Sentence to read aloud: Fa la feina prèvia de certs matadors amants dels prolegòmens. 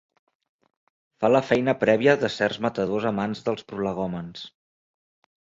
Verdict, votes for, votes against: accepted, 3, 0